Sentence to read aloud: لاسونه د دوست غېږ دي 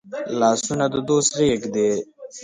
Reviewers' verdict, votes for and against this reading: rejected, 1, 2